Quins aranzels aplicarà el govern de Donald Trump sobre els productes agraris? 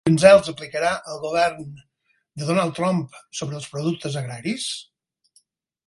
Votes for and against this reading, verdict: 2, 4, rejected